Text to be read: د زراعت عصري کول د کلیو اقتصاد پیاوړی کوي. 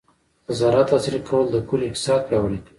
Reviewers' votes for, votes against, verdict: 0, 2, rejected